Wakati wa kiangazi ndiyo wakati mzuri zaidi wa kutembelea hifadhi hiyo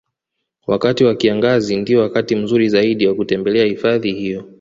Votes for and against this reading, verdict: 2, 1, accepted